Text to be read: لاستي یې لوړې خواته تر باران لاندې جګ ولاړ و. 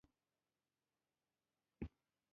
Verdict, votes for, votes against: rejected, 1, 2